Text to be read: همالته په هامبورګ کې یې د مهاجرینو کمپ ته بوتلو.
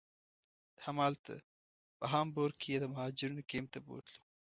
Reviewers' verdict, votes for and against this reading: rejected, 1, 2